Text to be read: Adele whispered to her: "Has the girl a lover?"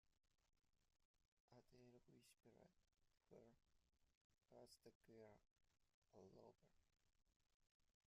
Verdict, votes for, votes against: rejected, 0, 2